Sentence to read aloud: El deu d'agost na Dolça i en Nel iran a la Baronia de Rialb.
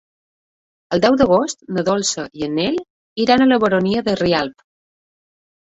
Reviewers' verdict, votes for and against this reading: accepted, 3, 1